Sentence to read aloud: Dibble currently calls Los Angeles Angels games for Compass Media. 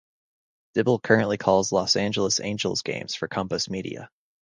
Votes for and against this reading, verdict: 2, 0, accepted